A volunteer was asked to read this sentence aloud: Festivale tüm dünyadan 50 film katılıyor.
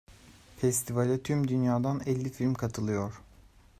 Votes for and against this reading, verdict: 0, 2, rejected